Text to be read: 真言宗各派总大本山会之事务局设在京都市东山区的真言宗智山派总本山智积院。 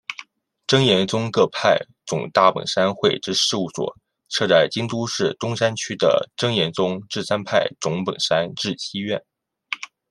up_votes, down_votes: 1, 2